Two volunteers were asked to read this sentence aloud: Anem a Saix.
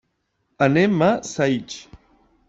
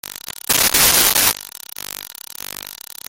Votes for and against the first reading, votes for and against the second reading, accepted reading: 3, 1, 0, 2, first